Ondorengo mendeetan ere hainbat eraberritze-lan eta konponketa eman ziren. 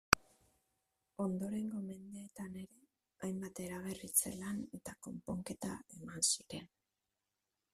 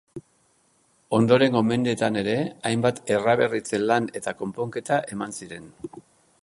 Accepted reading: second